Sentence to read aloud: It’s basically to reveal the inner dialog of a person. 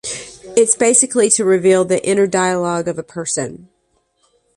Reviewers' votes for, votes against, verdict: 2, 0, accepted